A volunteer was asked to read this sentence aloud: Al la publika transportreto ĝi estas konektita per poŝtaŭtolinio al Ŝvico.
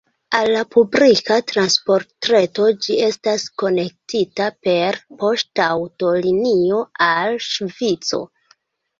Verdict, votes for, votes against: accepted, 2, 1